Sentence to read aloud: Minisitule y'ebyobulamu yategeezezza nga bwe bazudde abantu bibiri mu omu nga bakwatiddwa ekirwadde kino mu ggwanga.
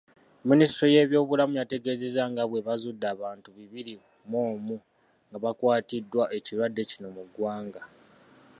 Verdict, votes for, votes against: rejected, 1, 2